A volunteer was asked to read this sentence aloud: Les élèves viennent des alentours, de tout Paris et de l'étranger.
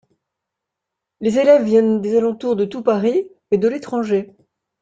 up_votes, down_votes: 1, 2